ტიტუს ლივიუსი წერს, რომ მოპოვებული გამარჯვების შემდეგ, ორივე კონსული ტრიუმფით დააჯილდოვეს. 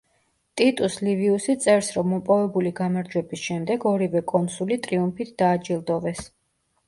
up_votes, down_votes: 2, 0